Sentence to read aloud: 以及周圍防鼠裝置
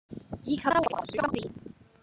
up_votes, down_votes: 0, 2